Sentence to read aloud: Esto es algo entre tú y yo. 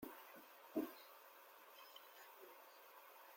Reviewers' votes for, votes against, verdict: 0, 2, rejected